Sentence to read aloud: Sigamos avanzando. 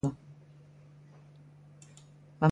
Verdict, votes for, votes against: rejected, 0, 2